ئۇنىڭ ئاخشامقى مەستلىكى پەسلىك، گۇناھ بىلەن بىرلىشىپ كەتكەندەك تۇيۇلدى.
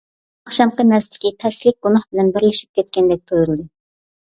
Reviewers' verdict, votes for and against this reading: rejected, 0, 2